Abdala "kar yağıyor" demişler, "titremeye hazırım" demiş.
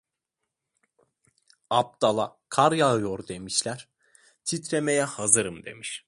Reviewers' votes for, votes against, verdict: 2, 0, accepted